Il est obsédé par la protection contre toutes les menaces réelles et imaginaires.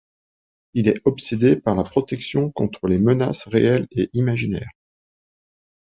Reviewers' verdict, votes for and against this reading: rejected, 2, 3